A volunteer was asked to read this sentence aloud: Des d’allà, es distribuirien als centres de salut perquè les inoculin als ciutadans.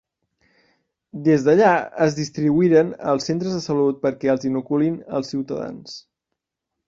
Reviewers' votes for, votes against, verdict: 1, 2, rejected